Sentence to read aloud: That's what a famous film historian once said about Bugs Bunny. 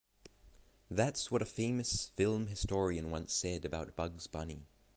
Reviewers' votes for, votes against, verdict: 3, 0, accepted